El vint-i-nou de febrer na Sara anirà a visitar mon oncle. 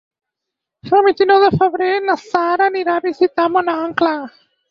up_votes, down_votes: 2, 6